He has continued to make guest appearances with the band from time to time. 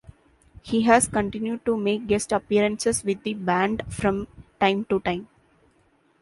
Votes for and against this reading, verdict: 2, 0, accepted